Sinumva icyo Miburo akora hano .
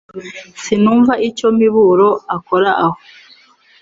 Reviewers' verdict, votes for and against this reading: rejected, 2, 4